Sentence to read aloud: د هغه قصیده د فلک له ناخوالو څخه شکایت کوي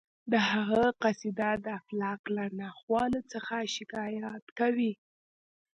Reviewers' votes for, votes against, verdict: 2, 0, accepted